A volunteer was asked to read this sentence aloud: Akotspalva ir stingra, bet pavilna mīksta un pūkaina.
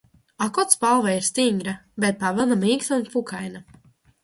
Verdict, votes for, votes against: rejected, 1, 2